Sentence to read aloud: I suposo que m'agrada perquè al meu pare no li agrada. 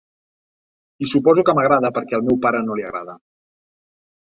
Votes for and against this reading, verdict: 2, 0, accepted